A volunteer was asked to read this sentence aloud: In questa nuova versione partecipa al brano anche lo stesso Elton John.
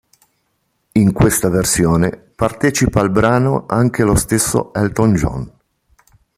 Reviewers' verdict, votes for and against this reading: rejected, 0, 3